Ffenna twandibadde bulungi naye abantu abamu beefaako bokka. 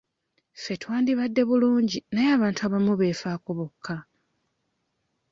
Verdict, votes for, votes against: accepted, 2, 1